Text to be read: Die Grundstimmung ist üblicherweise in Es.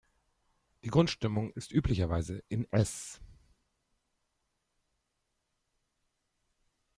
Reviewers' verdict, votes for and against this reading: accepted, 2, 0